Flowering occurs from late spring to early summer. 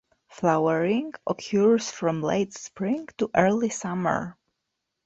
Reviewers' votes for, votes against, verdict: 2, 0, accepted